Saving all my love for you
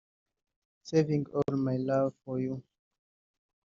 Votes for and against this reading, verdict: 1, 3, rejected